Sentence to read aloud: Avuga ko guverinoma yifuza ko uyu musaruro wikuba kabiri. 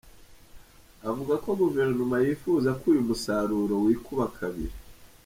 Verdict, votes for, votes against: rejected, 0, 2